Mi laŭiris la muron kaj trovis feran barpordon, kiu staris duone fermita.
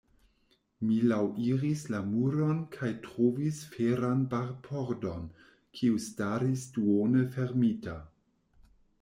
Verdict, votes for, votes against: accepted, 2, 0